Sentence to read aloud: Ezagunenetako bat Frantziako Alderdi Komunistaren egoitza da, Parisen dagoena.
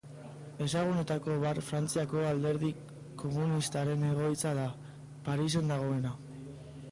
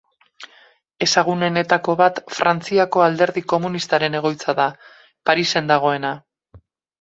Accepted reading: second